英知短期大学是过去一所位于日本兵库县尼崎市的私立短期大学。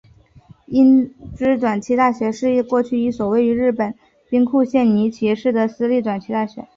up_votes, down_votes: 1, 2